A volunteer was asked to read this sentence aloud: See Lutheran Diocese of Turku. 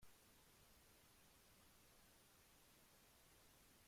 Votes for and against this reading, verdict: 0, 2, rejected